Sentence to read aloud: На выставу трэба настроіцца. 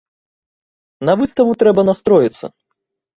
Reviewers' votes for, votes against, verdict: 1, 2, rejected